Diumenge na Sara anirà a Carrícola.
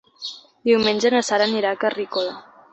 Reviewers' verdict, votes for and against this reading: accepted, 3, 0